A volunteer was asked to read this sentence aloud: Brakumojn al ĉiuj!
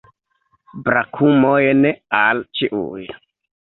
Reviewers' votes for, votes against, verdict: 0, 2, rejected